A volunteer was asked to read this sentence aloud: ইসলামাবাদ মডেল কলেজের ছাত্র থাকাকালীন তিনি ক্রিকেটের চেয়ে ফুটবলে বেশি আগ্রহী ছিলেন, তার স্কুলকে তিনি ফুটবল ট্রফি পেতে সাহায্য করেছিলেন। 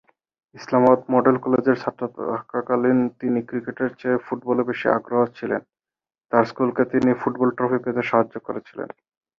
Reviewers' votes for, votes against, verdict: 4, 4, rejected